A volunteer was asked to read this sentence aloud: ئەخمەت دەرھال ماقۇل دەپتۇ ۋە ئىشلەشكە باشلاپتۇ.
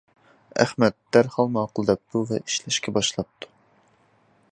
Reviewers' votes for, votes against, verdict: 2, 0, accepted